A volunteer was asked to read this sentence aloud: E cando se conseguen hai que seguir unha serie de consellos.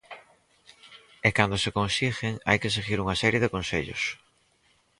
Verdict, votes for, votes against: rejected, 2, 4